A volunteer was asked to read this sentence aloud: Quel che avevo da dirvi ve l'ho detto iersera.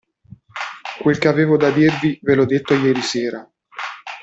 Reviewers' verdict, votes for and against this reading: rejected, 1, 2